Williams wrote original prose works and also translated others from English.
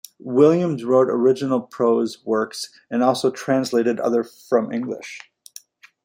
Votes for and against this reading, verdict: 1, 2, rejected